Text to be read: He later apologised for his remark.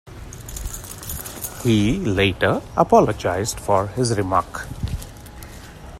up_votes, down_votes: 2, 0